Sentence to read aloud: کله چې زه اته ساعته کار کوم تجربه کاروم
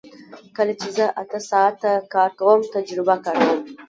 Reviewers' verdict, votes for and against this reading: accepted, 2, 1